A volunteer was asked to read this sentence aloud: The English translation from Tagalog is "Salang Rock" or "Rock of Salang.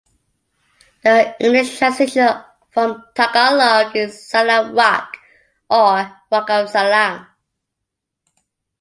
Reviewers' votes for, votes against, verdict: 2, 1, accepted